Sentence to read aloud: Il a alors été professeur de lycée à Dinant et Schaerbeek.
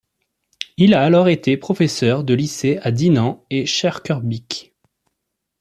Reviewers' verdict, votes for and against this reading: rejected, 1, 2